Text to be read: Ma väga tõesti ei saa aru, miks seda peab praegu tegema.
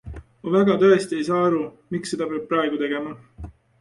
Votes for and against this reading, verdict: 2, 0, accepted